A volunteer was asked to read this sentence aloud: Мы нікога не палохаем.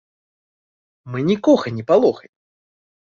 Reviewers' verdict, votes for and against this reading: accepted, 2, 0